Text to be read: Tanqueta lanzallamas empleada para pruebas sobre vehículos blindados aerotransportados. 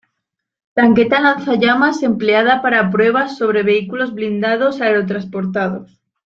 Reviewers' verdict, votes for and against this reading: accepted, 2, 0